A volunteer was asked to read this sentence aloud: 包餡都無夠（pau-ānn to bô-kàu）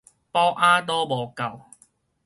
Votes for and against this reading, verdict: 2, 2, rejected